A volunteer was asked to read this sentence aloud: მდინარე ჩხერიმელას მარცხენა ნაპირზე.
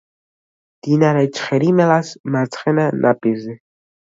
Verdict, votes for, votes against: rejected, 1, 2